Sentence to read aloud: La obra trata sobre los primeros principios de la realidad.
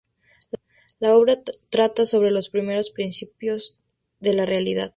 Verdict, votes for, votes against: rejected, 0, 2